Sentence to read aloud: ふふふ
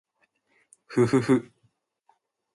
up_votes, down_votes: 2, 0